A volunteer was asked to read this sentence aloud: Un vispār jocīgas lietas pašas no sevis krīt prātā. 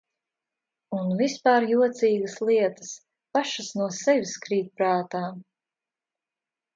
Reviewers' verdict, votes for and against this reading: accepted, 2, 0